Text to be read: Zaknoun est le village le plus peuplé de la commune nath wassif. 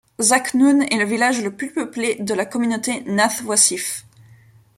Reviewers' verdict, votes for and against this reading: rejected, 0, 2